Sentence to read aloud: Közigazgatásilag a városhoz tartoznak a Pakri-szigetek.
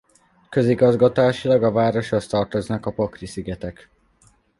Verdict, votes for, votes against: accepted, 2, 0